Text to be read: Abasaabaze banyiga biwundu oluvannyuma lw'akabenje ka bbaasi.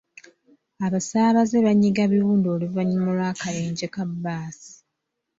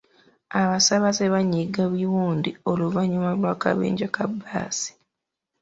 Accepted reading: first